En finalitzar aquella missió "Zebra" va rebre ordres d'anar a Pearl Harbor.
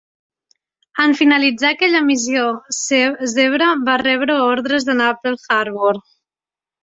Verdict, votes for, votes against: rejected, 0, 2